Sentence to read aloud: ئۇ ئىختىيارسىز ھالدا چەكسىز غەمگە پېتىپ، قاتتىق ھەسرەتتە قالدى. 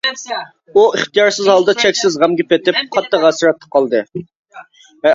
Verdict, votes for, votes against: rejected, 1, 2